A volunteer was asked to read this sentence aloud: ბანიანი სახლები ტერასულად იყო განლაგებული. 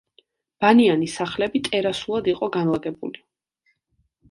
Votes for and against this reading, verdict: 2, 0, accepted